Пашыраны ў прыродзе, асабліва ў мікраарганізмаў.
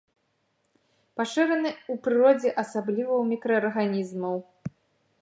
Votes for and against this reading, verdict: 2, 1, accepted